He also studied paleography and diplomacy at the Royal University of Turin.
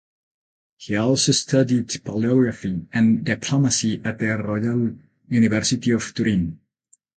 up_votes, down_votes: 4, 8